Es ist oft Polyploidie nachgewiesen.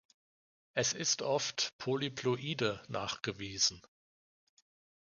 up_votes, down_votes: 2, 3